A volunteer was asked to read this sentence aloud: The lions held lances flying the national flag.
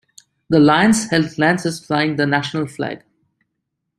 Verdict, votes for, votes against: accepted, 2, 0